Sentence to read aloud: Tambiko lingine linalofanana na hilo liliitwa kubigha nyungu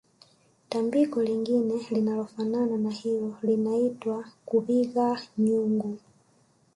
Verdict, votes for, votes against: accepted, 2, 1